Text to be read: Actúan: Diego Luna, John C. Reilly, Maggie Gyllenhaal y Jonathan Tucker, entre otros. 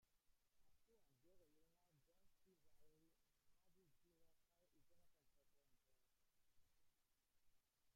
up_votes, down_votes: 0, 2